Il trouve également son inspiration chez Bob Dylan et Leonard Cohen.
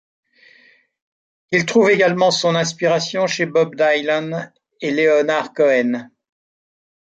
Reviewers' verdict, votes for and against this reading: rejected, 0, 2